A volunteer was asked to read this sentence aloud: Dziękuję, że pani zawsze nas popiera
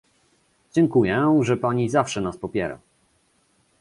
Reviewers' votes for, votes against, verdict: 2, 0, accepted